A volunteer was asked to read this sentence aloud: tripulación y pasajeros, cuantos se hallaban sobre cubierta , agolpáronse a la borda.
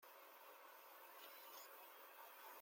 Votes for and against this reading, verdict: 0, 2, rejected